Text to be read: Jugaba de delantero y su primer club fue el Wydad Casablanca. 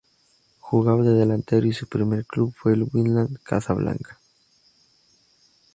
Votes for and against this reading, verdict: 0, 2, rejected